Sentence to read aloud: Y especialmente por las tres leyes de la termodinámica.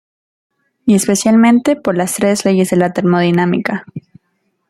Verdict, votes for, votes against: accepted, 2, 0